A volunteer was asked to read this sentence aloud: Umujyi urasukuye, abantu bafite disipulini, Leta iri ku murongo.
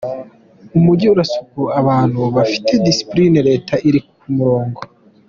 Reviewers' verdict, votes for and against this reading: accepted, 2, 0